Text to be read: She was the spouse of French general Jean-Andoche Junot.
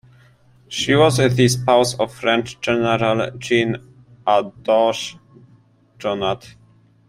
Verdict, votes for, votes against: accepted, 2, 1